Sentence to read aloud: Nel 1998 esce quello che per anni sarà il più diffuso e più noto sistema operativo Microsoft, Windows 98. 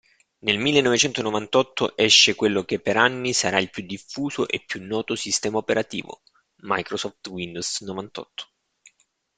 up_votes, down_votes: 0, 2